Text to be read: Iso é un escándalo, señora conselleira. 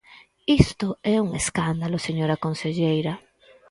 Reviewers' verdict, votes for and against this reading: rejected, 0, 4